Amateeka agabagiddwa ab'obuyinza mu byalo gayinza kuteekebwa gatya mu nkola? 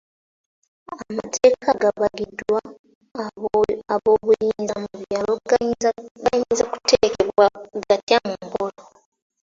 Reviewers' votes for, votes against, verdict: 0, 2, rejected